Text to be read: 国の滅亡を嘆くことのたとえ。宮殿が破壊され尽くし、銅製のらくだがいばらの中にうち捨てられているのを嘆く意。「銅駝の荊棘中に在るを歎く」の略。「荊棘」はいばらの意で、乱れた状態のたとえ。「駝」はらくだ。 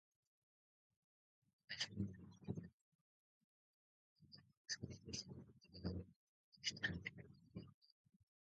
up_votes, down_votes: 0, 2